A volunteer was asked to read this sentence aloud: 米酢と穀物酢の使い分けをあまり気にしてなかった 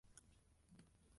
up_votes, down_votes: 1, 2